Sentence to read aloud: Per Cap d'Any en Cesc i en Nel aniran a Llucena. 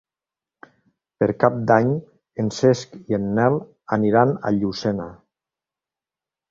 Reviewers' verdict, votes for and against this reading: accepted, 3, 0